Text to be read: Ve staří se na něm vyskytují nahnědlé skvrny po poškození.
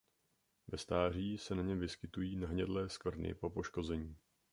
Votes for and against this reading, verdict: 3, 0, accepted